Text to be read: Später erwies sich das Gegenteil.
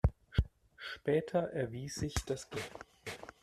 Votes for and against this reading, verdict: 0, 2, rejected